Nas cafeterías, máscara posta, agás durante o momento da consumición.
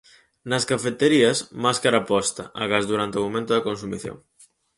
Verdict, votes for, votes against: accepted, 4, 0